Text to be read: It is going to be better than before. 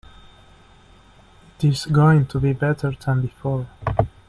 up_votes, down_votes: 0, 2